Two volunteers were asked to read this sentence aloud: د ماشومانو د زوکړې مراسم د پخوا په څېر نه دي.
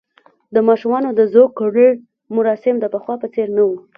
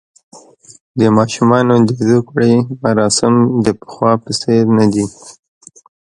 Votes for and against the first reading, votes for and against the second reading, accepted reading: 1, 2, 2, 1, second